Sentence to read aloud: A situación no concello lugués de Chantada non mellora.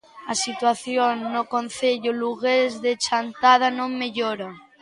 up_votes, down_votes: 2, 0